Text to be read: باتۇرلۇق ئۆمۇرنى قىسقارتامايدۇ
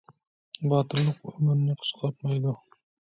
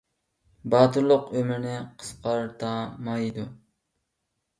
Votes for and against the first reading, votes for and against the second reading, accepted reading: 1, 2, 2, 1, second